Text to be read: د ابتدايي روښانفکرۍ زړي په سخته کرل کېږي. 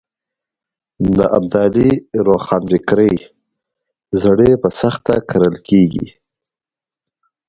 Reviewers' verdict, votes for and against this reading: accepted, 2, 1